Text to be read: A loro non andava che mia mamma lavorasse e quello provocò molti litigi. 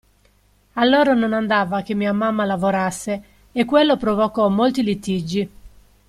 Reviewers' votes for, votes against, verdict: 2, 0, accepted